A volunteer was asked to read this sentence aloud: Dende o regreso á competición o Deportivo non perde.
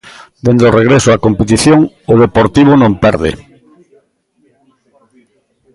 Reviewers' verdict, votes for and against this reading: accepted, 2, 1